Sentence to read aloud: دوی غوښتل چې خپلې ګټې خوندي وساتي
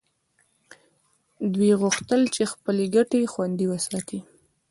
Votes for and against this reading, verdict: 1, 2, rejected